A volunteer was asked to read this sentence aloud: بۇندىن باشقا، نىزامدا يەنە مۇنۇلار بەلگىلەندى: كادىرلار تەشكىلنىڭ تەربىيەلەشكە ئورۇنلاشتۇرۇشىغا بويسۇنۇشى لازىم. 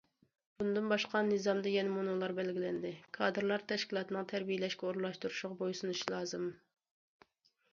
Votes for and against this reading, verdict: 1, 2, rejected